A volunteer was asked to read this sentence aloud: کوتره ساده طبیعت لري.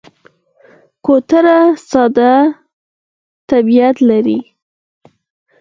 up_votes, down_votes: 2, 4